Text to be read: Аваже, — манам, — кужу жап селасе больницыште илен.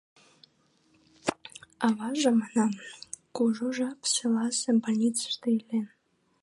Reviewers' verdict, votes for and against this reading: rejected, 1, 2